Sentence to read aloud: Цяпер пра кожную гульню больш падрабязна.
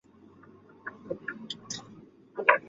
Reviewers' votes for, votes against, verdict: 0, 2, rejected